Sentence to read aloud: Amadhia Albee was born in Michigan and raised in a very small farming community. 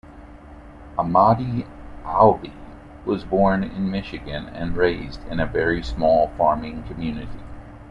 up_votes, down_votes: 1, 2